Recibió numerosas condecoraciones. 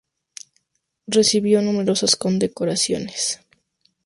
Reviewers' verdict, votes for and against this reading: accepted, 2, 0